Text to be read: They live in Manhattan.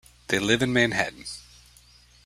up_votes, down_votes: 2, 0